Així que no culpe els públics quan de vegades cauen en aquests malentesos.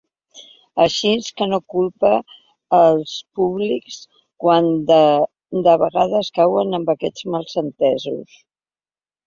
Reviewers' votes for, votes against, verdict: 1, 2, rejected